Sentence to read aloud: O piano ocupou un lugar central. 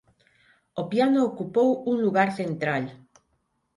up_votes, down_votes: 6, 0